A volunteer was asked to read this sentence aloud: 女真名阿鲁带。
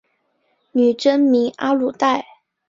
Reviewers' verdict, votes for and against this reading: accepted, 3, 0